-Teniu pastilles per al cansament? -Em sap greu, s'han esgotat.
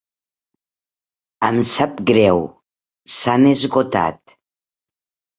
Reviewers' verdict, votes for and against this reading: rejected, 0, 2